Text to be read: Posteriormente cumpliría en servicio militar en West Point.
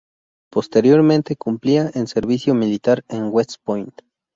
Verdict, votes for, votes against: accepted, 4, 0